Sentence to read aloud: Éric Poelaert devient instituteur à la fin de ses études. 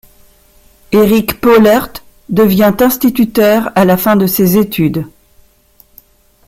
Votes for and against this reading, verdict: 2, 1, accepted